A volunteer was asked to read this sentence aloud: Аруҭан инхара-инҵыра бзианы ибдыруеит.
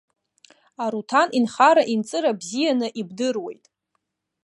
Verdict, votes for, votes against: accepted, 2, 0